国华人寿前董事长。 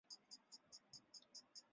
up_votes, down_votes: 0, 2